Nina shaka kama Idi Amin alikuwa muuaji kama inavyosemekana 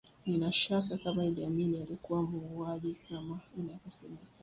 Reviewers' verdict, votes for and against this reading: rejected, 1, 2